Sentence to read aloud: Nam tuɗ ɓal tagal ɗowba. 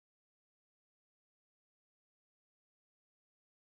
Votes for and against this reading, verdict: 0, 2, rejected